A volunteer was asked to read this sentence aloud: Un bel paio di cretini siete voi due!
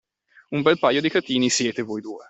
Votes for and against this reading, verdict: 2, 1, accepted